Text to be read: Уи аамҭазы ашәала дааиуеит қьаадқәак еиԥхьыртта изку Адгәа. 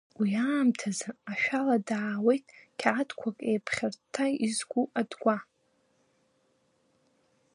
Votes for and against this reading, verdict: 1, 2, rejected